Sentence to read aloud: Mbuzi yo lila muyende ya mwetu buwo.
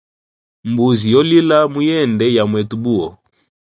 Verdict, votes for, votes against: accepted, 4, 0